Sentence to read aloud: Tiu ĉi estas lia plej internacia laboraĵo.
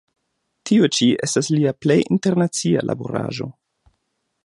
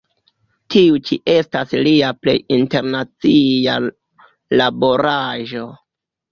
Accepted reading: first